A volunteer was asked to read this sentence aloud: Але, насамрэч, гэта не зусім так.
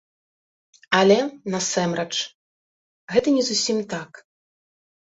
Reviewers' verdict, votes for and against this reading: rejected, 1, 2